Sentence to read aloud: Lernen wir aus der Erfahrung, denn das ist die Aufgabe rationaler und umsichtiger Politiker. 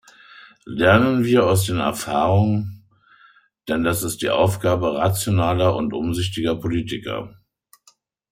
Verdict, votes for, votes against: rejected, 0, 2